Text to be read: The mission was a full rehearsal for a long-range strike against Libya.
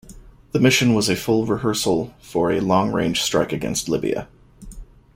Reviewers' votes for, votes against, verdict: 2, 0, accepted